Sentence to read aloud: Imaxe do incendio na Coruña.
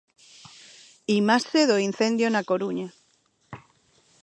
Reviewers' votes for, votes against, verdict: 2, 1, accepted